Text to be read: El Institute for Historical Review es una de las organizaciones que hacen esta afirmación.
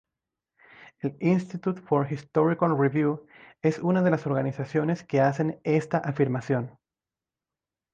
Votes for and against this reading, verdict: 0, 2, rejected